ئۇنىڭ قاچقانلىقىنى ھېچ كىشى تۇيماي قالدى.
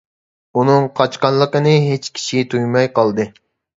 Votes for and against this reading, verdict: 2, 0, accepted